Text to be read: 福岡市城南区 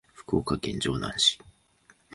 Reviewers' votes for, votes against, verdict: 1, 2, rejected